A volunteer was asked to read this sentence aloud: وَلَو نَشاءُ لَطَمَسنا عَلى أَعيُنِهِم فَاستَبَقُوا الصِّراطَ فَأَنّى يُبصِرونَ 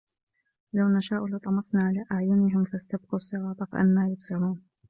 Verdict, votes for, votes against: rejected, 1, 2